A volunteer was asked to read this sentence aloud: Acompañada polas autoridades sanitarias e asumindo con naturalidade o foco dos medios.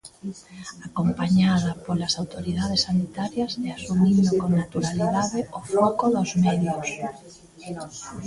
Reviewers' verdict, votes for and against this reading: rejected, 1, 2